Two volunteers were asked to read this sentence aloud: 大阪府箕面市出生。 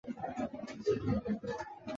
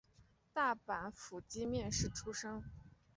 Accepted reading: second